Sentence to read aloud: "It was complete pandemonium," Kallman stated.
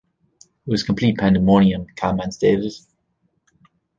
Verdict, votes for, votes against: accepted, 2, 0